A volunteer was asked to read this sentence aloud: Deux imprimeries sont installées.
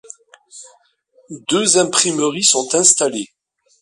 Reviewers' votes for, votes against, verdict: 2, 0, accepted